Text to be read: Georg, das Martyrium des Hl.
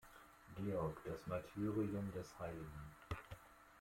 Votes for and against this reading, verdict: 2, 0, accepted